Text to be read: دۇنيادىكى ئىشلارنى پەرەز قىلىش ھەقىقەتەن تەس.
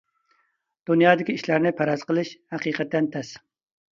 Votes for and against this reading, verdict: 2, 0, accepted